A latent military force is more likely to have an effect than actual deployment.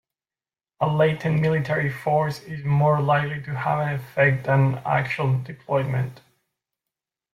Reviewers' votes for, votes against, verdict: 2, 0, accepted